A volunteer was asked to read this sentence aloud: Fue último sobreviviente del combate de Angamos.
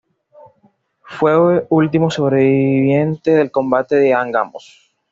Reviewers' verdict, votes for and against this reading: rejected, 1, 2